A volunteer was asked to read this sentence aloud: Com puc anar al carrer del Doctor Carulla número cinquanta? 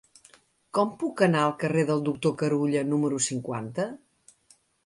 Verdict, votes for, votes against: accepted, 2, 0